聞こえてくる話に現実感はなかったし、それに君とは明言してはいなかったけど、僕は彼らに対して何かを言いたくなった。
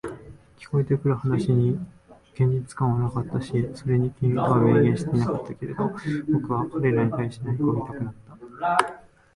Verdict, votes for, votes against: rejected, 2, 3